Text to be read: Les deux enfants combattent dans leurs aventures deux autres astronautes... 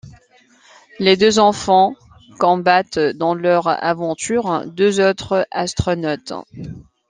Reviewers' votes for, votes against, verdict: 1, 2, rejected